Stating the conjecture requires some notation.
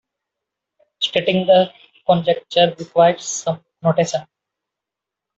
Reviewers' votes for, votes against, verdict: 2, 0, accepted